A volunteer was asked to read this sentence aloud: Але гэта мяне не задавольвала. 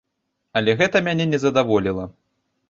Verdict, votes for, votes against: rejected, 0, 2